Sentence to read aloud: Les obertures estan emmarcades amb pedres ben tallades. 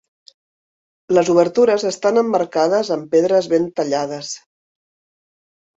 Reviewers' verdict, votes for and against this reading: accepted, 2, 0